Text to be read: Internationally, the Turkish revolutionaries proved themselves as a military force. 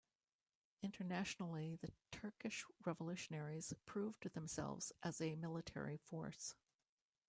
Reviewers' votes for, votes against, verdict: 2, 3, rejected